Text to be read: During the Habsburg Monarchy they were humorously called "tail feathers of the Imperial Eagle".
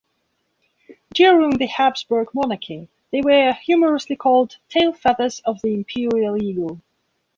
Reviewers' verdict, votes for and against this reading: accepted, 2, 0